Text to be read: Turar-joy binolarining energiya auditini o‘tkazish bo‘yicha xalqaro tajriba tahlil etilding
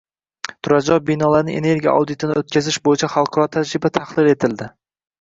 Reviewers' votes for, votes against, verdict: 0, 2, rejected